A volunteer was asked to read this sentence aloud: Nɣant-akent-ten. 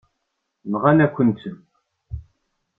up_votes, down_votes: 0, 2